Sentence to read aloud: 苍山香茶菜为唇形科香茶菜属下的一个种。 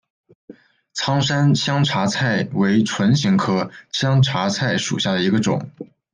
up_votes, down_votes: 2, 0